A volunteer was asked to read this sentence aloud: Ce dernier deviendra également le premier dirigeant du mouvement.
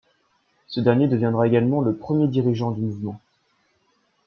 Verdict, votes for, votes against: accepted, 2, 0